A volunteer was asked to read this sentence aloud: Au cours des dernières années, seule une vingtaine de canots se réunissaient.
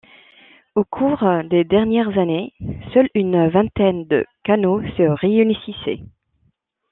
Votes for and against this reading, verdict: 1, 2, rejected